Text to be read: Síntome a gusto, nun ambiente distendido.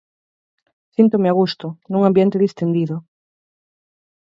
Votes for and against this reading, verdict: 4, 2, accepted